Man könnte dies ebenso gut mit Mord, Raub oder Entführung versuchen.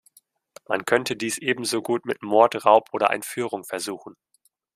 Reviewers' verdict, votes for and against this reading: rejected, 0, 2